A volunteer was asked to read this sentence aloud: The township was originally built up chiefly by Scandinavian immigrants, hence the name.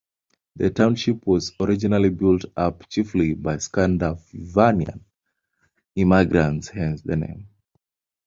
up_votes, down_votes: 1, 2